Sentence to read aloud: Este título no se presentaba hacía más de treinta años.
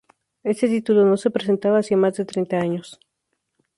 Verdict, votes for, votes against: accepted, 4, 0